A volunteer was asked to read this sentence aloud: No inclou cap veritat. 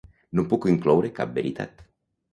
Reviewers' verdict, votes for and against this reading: rejected, 0, 2